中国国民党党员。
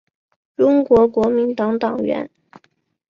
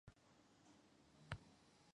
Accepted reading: first